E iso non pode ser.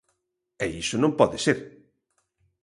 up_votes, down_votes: 2, 0